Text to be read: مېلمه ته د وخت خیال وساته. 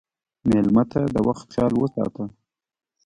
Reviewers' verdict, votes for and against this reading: rejected, 0, 2